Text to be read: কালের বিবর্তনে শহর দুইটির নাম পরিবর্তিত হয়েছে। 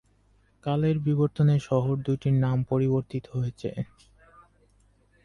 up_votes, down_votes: 10, 2